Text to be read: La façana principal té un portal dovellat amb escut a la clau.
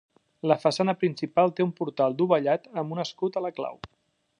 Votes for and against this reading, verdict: 1, 2, rejected